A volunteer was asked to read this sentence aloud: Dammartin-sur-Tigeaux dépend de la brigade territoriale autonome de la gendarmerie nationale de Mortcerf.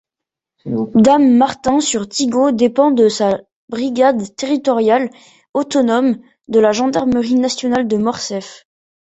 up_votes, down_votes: 0, 2